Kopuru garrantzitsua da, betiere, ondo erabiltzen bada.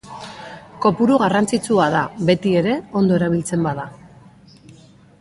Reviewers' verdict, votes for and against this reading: accepted, 2, 0